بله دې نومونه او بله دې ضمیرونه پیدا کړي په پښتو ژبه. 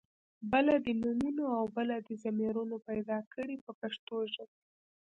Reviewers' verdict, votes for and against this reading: rejected, 1, 2